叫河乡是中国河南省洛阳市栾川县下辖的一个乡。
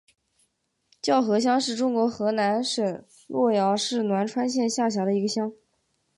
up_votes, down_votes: 6, 0